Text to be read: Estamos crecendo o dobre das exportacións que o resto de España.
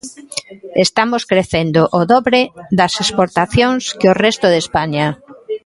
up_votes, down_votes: 0, 2